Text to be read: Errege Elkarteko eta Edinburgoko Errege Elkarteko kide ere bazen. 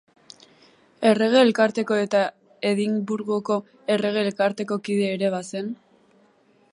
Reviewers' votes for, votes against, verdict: 1, 3, rejected